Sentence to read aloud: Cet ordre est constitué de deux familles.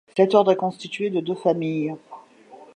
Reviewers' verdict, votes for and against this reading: accepted, 2, 0